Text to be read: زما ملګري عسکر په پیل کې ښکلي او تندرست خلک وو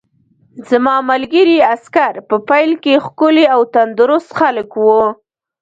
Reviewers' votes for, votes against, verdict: 1, 2, rejected